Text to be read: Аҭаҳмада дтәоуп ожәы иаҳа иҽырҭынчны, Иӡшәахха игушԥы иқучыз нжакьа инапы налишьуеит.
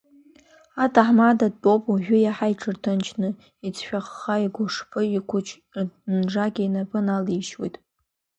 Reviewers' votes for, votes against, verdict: 0, 2, rejected